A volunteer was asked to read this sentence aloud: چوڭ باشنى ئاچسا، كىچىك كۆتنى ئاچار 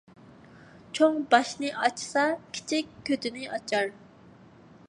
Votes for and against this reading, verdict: 0, 2, rejected